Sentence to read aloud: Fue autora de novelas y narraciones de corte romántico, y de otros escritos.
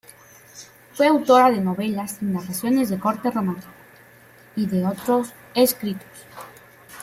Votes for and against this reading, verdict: 2, 0, accepted